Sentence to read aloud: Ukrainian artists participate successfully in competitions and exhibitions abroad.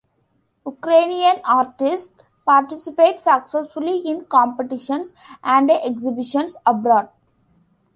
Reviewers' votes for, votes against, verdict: 2, 0, accepted